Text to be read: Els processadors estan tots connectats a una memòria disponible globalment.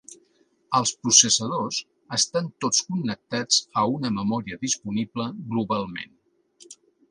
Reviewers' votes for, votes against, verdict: 2, 0, accepted